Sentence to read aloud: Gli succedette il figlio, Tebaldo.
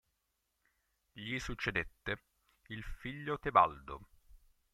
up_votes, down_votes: 1, 5